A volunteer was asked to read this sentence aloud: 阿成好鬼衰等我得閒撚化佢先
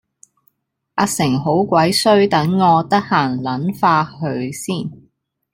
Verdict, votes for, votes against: rejected, 1, 2